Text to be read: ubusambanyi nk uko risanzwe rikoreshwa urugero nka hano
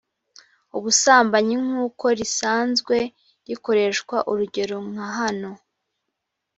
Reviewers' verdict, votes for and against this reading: rejected, 0, 2